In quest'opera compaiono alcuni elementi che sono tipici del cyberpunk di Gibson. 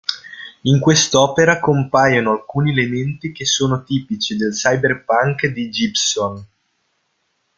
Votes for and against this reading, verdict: 1, 2, rejected